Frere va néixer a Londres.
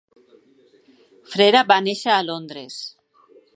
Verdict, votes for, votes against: rejected, 0, 2